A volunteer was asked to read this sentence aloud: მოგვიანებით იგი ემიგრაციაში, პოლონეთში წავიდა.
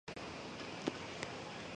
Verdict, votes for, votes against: rejected, 0, 2